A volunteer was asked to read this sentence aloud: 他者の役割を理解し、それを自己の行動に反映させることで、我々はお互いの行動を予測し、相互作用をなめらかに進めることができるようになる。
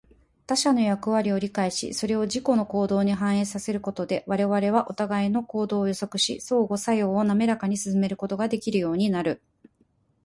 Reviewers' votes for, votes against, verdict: 6, 2, accepted